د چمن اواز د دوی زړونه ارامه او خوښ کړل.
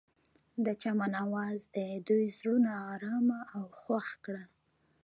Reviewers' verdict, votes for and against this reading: accepted, 2, 0